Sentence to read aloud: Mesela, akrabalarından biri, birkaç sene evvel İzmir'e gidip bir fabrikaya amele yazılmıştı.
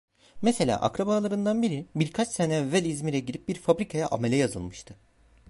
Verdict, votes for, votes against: accepted, 2, 1